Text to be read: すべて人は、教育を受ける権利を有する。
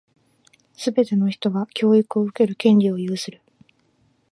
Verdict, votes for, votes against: rejected, 0, 2